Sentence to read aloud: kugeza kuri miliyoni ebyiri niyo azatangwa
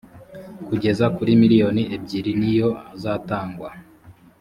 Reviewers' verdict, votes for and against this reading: accepted, 2, 0